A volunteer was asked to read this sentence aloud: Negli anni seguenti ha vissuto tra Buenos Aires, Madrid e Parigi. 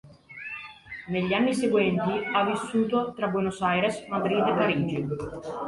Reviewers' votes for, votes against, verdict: 2, 1, accepted